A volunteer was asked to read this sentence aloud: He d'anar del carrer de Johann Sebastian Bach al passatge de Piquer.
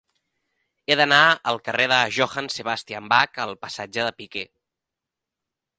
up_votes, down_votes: 1, 2